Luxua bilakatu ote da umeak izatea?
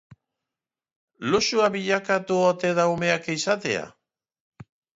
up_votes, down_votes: 2, 0